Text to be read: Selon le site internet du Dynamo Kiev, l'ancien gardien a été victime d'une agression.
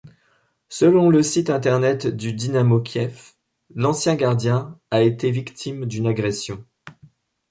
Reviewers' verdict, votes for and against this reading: accepted, 2, 0